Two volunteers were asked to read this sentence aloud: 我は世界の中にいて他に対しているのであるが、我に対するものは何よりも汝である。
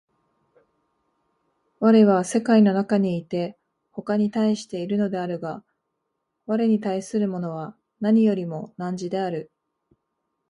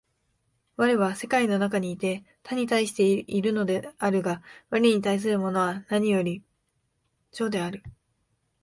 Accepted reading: first